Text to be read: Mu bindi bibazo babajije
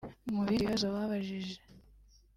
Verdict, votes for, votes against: rejected, 1, 2